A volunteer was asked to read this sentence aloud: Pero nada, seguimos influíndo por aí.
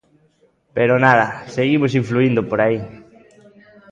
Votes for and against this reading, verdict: 1, 2, rejected